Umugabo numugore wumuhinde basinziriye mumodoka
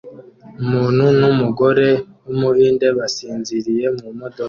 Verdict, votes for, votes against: rejected, 0, 2